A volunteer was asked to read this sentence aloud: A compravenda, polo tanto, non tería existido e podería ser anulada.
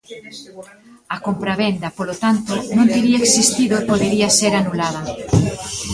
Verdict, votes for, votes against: rejected, 1, 2